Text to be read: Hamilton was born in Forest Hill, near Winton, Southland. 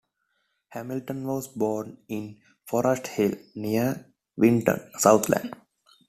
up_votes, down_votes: 2, 0